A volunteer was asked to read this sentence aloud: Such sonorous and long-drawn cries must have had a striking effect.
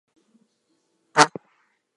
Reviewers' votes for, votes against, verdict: 0, 4, rejected